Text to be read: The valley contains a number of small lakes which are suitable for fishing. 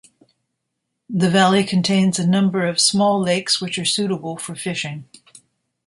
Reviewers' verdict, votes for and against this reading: accepted, 2, 0